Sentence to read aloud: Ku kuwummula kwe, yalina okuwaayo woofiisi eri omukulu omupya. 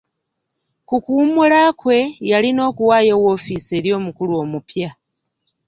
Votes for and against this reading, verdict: 2, 0, accepted